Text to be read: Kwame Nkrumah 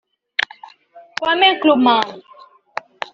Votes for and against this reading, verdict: 2, 1, accepted